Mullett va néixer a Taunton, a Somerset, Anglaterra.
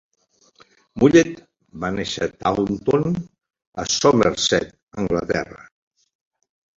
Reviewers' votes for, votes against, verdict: 1, 2, rejected